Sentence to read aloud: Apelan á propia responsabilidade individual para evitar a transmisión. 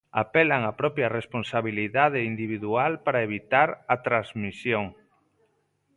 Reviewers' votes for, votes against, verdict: 2, 0, accepted